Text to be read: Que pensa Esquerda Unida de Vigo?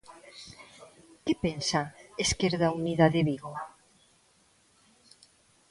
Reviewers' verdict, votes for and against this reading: accepted, 2, 0